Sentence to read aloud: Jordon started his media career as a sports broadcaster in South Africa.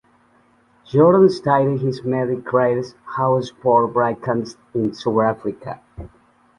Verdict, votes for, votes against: rejected, 0, 2